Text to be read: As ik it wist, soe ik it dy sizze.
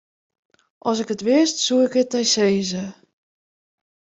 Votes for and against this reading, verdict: 2, 0, accepted